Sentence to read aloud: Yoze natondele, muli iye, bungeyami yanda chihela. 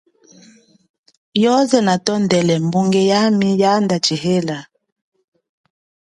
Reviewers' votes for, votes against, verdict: 2, 1, accepted